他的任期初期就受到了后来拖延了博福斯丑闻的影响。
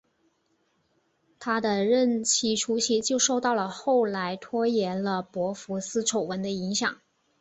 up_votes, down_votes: 8, 0